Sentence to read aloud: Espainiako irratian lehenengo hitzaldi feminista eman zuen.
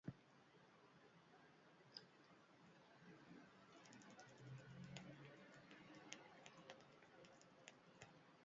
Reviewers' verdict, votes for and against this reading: rejected, 0, 2